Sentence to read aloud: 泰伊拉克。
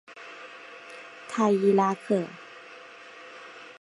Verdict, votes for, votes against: accepted, 3, 0